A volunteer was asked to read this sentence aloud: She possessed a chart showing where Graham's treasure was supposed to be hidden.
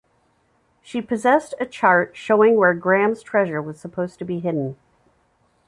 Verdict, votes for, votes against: rejected, 0, 2